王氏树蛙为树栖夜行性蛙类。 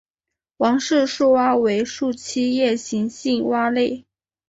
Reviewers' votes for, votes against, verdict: 2, 0, accepted